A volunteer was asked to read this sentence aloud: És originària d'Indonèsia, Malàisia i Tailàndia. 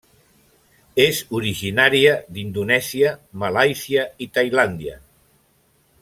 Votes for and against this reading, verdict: 3, 0, accepted